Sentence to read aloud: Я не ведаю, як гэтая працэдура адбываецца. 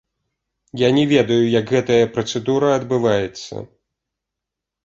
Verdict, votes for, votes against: accepted, 2, 1